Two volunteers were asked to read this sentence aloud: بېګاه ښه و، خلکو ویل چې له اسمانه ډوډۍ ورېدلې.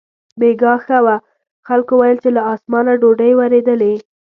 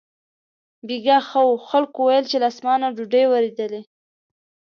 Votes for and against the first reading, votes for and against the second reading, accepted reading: 0, 2, 2, 0, second